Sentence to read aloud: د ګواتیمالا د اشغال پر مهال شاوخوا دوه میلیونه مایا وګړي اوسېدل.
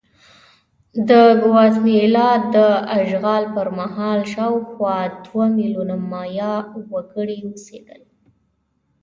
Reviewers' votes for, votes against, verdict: 2, 0, accepted